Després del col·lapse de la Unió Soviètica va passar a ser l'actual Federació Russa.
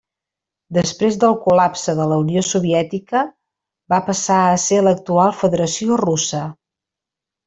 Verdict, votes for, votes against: accepted, 3, 0